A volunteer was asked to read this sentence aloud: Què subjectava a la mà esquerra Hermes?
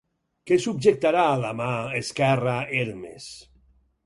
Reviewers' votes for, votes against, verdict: 2, 4, rejected